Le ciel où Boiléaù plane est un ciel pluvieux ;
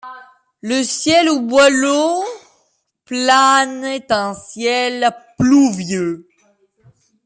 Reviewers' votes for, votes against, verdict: 0, 2, rejected